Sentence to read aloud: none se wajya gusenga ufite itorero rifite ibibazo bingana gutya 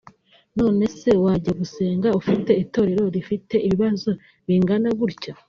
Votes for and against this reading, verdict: 2, 1, accepted